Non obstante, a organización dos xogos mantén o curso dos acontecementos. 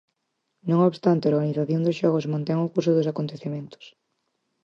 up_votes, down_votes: 4, 0